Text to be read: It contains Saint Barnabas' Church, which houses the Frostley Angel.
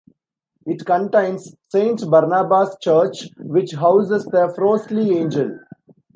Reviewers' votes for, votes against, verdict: 2, 0, accepted